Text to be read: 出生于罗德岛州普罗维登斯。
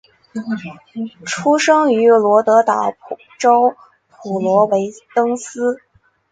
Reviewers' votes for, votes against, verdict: 2, 0, accepted